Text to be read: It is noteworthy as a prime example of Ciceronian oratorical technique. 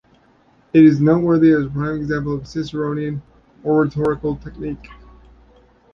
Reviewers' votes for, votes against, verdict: 1, 2, rejected